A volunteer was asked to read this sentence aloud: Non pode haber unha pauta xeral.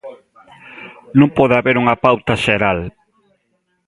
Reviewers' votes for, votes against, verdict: 2, 0, accepted